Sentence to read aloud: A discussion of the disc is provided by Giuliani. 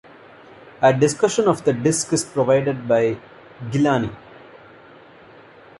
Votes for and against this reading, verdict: 0, 2, rejected